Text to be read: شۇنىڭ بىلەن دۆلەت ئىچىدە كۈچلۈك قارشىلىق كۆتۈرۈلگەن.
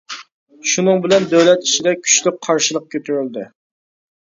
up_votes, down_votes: 0, 2